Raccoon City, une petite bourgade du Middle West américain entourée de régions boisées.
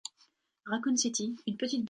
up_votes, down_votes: 0, 2